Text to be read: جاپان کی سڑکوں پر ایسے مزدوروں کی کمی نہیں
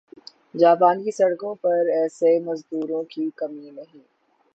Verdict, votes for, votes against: accepted, 6, 0